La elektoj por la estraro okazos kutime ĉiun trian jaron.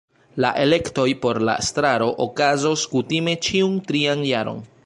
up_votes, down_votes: 1, 2